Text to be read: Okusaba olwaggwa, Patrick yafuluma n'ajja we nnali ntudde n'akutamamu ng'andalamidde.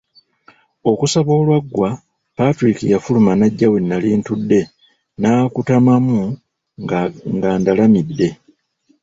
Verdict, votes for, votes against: rejected, 0, 2